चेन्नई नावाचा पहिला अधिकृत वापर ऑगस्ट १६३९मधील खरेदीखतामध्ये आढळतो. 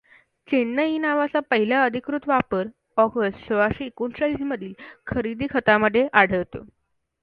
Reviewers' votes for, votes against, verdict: 0, 2, rejected